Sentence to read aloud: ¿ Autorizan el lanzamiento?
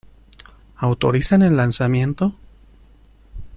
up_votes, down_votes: 2, 0